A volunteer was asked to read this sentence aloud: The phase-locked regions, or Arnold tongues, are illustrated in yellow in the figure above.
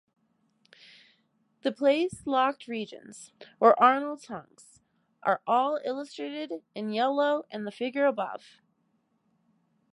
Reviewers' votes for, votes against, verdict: 1, 2, rejected